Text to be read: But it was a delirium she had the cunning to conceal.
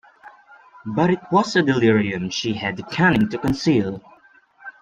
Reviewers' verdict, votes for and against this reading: accepted, 3, 2